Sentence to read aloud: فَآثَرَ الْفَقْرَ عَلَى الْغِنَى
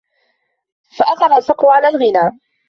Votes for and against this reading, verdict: 2, 0, accepted